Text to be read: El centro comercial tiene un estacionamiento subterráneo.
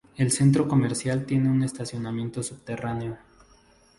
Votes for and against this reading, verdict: 2, 0, accepted